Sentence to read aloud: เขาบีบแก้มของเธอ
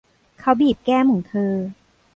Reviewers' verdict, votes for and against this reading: accepted, 2, 0